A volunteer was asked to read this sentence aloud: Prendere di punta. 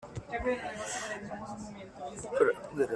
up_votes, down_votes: 0, 2